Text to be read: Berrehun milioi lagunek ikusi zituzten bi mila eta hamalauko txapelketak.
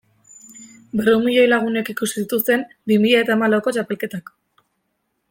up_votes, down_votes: 2, 0